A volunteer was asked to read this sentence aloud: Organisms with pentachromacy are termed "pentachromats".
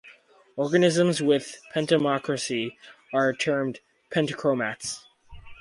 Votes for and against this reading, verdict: 0, 2, rejected